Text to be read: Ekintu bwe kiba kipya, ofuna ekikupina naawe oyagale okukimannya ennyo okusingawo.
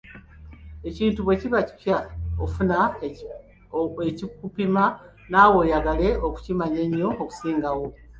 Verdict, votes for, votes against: accepted, 2, 1